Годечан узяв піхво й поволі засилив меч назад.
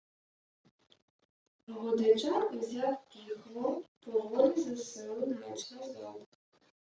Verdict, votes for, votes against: rejected, 1, 2